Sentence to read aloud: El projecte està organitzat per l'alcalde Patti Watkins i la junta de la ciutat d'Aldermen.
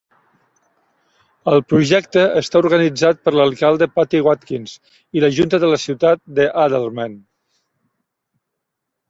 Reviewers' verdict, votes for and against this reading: rejected, 1, 2